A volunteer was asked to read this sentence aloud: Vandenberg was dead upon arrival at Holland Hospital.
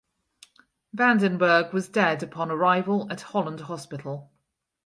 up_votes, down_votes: 4, 0